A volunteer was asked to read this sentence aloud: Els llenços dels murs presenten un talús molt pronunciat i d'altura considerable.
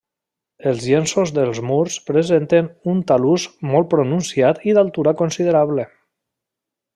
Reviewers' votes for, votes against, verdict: 3, 0, accepted